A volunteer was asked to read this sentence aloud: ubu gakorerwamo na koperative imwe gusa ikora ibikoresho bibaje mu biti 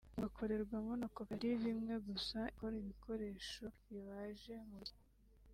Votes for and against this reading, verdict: 2, 0, accepted